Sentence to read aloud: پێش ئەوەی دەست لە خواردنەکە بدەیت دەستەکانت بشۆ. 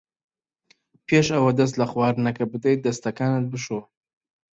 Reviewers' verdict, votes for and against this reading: rejected, 1, 2